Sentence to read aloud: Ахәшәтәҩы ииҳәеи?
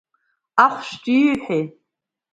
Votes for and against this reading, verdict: 2, 1, accepted